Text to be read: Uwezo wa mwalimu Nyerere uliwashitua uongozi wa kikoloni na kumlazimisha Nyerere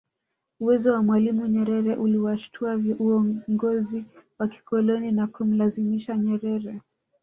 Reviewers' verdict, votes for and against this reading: rejected, 1, 2